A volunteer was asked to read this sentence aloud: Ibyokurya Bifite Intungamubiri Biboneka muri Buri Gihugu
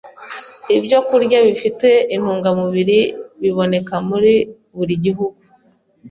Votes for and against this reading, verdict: 2, 0, accepted